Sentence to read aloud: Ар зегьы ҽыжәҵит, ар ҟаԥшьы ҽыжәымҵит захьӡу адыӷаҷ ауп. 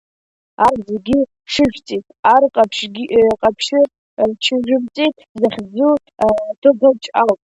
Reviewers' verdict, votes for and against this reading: rejected, 1, 2